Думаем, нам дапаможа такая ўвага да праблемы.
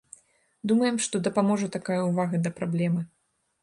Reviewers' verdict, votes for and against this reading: rejected, 1, 2